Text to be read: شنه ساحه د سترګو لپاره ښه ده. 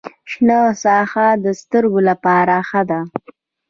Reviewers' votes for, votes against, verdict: 2, 0, accepted